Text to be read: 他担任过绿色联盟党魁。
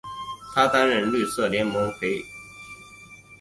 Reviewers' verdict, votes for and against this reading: rejected, 1, 2